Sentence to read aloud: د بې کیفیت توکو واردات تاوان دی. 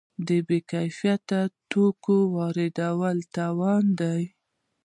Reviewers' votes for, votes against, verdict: 2, 0, accepted